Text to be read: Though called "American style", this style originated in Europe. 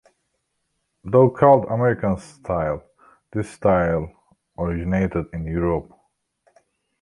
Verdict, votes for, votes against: rejected, 1, 2